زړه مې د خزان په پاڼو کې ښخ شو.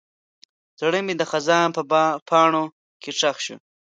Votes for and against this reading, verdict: 1, 2, rejected